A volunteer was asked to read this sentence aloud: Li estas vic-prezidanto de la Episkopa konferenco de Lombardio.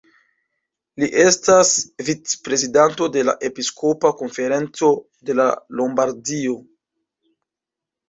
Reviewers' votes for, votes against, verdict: 1, 2, rejected